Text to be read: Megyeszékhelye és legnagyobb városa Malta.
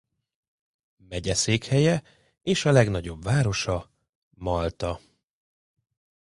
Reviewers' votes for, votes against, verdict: 0, 2, rejected